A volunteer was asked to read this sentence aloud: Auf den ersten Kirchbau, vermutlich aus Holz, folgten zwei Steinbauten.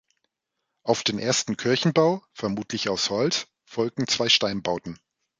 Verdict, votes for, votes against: rejected, 0, 2